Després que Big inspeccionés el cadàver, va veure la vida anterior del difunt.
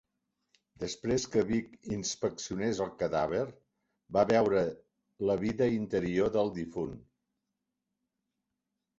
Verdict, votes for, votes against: rejected, 0, 2